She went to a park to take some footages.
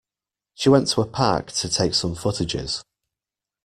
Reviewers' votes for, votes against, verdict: 2, 0, accepted